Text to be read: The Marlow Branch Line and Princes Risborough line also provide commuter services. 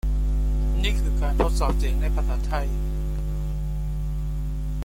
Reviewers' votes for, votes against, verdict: 0, 2, rejected